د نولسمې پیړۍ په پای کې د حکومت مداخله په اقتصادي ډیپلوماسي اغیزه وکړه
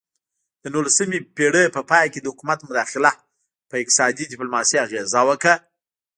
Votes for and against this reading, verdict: 1, 2, rejected